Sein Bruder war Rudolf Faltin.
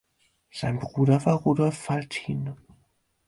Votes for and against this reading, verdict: 4, 0, accepted